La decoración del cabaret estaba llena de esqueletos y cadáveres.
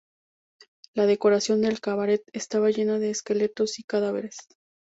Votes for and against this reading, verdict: 2, 0, accepted